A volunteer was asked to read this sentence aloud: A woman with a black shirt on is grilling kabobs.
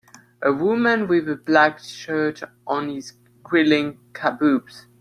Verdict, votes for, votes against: accepted, 2, 0